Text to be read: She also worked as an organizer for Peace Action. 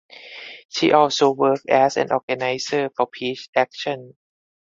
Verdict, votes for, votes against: accepted, 4, 0